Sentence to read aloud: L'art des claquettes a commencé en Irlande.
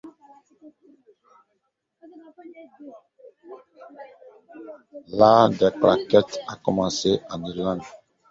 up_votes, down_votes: 1, 2